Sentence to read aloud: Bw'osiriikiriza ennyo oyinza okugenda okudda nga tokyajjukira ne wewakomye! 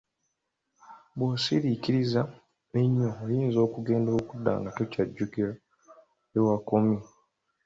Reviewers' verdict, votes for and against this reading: accepted, 2, 0